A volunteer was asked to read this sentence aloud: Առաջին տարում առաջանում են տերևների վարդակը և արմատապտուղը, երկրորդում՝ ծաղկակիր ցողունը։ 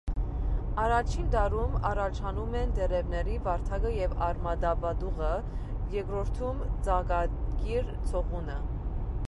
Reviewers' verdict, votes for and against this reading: rejected, 1, 2